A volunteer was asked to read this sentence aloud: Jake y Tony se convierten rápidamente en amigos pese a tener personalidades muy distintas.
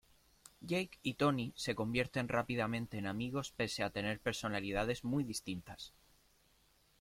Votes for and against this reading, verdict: 0, 2, rejected